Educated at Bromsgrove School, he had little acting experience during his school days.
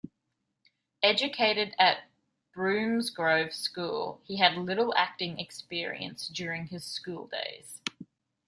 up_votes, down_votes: 2, 0